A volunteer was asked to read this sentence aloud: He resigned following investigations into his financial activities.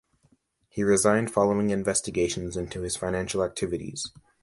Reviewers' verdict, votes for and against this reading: accepted, 2, 0